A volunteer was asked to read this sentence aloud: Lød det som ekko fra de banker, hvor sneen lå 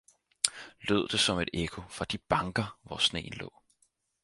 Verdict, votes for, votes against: rejected, 0, 4